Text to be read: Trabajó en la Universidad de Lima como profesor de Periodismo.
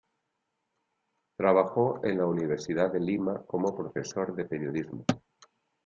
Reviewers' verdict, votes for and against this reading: accepted, 2, 0